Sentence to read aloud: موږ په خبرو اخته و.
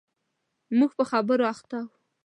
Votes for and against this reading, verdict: 1, 2, rejected